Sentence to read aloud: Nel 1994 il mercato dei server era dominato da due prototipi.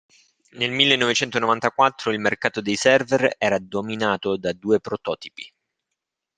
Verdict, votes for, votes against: rejected, 0, 2